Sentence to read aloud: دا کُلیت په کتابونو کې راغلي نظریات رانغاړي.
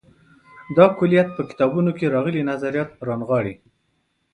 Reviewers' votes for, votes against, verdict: 0, 2, rejected